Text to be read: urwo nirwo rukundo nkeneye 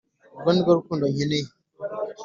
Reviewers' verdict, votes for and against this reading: accepted, 2, 0